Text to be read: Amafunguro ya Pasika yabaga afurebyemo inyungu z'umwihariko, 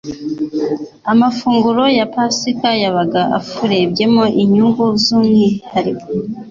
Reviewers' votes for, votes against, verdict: 3, 0, accepted